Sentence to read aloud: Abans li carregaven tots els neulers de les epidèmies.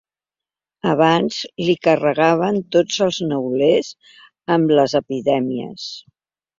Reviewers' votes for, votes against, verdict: 0, 2, rejected